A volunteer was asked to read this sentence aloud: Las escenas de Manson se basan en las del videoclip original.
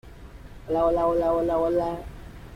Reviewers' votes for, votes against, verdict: 0, 2, rejected